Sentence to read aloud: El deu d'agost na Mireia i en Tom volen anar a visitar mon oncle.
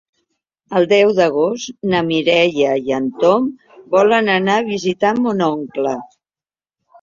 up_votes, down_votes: 3, 0